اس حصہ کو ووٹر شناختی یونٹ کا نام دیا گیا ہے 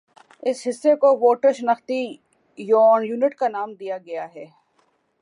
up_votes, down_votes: 3, 3